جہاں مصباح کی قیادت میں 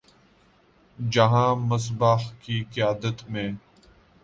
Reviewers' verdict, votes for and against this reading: accepted, 2, 1